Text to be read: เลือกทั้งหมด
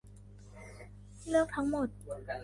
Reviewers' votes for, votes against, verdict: 3, 1, accepted